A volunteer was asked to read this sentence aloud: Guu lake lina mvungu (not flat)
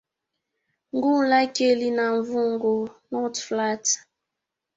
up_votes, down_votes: 0, 2